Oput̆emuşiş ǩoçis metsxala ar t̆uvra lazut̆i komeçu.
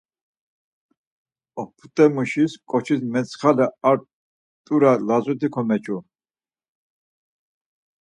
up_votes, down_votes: 0, 4